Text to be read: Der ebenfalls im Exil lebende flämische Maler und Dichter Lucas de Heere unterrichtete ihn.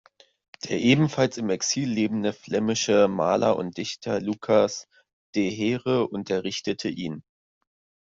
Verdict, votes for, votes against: accepted, 2, 1